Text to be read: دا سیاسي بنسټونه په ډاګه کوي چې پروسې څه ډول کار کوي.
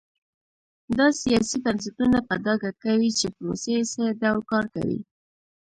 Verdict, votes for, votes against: rejected, 1, 2